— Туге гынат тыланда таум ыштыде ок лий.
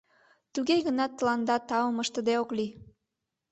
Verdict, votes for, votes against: accepted, 2, 0